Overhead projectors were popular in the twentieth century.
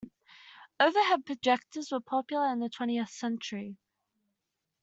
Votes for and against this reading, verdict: 1, 2, rejected